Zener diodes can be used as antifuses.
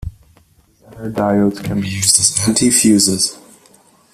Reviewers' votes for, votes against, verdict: 1, 3, rejected